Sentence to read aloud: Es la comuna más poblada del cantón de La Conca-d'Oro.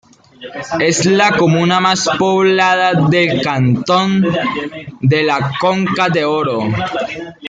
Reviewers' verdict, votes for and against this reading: accepted, 2, 0